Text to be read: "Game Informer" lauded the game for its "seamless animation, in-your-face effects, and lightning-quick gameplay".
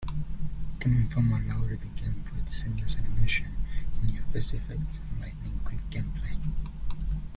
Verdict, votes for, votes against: rejected, 0, 2